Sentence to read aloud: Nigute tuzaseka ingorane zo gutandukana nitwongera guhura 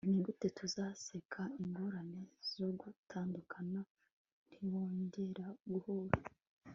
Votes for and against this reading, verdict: 1, 2, rejected